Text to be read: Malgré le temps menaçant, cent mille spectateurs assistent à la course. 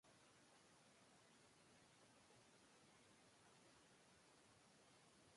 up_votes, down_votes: 0, 2